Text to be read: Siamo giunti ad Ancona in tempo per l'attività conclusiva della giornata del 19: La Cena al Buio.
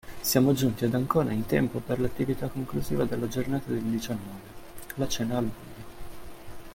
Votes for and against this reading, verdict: 0, 2, rejected